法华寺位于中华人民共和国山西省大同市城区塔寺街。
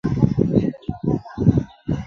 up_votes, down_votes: 1, 2